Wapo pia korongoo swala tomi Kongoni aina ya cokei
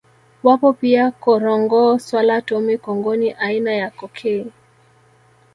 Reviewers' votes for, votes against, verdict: 1, 2, rejected